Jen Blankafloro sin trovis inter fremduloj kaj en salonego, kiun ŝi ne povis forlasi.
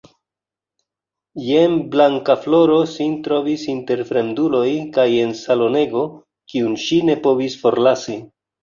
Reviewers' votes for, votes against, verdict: 1, 2, rejected